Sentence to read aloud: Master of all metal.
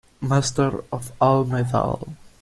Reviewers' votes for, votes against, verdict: 1, 2, rejected